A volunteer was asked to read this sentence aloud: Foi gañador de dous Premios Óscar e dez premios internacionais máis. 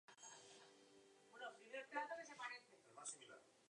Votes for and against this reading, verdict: 0, 2, rejected